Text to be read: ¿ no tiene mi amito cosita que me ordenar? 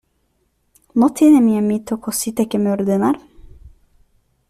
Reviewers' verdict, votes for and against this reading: accepted, 2, 0